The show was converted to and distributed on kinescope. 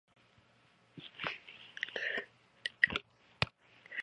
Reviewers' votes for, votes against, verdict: 0, 2, rejected